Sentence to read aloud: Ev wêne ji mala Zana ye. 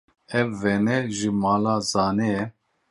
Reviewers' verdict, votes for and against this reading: rejected, 0, 2